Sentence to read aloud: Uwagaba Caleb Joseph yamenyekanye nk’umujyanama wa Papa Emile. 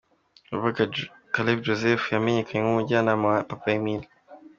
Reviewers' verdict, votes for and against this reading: accepted, 2, 1